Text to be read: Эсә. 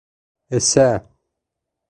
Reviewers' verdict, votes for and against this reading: accepted, 2, 0